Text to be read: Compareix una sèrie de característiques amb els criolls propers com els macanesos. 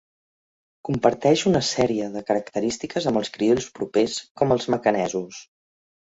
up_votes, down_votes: 1, 2